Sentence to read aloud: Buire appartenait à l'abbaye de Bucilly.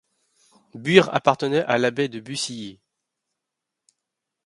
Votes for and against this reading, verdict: 2, 3, rejected